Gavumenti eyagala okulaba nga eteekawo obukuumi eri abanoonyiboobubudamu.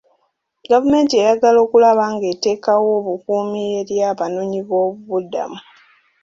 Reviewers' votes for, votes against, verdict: 2, 0, accepted